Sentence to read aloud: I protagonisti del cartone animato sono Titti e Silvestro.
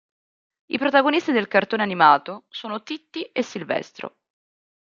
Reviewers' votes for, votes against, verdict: 2, 0, accepted